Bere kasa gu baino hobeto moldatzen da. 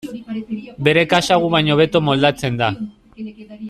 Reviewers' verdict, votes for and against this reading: rejected, 0, 2